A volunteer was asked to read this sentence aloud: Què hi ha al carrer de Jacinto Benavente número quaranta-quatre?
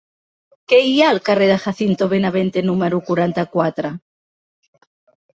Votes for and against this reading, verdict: 3, 0, accepted